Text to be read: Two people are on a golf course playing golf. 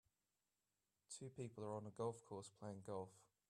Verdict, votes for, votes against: accepted, 2, 0